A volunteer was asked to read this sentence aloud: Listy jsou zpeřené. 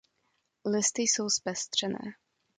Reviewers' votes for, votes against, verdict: 0, 2, rejected